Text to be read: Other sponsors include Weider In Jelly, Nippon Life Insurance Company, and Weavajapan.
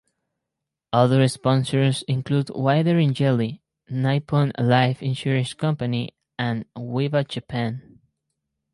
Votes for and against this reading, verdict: 2, 2, rejected